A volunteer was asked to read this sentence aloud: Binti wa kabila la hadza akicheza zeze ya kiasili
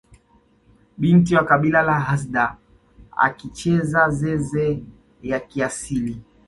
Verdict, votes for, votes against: accepted, 2, 1